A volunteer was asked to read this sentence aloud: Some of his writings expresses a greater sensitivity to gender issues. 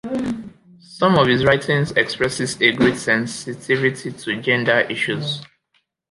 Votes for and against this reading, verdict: 0, 2, rejected